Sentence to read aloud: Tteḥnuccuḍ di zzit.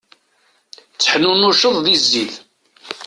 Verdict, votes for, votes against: rejected, 1, 2